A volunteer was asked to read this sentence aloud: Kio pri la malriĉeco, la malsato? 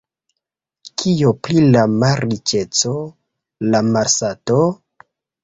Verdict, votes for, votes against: rejected, 0, 2